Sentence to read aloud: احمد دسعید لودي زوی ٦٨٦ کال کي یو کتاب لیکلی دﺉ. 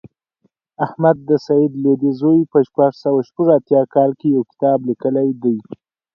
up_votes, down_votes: 0, 2